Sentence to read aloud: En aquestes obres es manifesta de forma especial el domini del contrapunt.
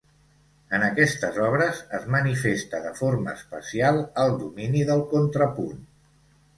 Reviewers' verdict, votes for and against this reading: accepted, 3, 0